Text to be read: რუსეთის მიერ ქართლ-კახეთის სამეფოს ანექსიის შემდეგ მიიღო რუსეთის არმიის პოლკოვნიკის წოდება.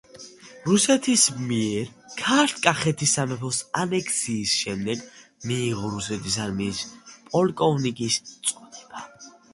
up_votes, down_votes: 2, 0